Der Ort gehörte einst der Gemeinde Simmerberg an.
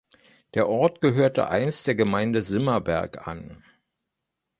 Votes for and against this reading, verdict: 2, 0, accepted